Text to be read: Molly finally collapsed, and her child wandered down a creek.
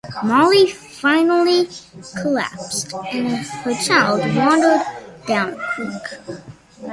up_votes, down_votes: 0, 2